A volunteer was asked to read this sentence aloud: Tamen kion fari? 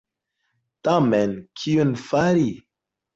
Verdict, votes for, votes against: accepted, 3, 0